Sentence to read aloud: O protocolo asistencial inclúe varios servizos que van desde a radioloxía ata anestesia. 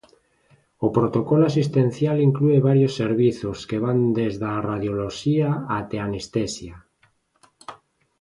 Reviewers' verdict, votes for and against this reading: rejected, 1, 2